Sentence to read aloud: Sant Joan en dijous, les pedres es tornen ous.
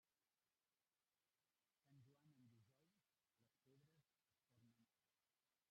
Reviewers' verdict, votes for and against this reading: rejected, 0, 2